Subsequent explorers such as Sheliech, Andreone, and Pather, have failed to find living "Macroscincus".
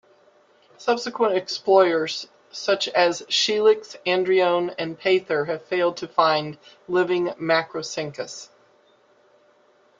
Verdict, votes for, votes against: rejected, 0, 2